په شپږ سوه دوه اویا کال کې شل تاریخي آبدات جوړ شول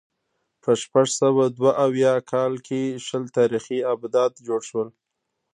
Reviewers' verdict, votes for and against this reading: rejected, 1, 2